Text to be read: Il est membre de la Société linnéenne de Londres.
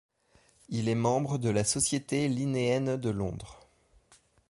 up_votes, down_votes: 2, 0